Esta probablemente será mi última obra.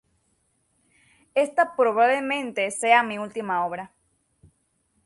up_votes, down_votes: 0, 6